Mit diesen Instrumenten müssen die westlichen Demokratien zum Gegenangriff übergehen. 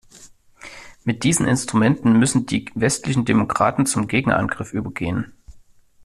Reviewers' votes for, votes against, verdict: 1, 2, rejected